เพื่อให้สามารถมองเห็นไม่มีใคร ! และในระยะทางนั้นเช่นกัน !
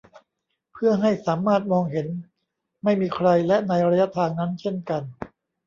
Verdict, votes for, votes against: rejected, 1, 2